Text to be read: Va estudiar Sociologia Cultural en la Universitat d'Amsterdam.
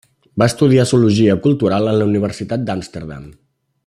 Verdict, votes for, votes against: rejected, 0, 2